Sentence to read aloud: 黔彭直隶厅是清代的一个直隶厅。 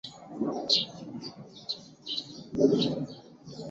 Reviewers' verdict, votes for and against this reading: rejected, 0, 3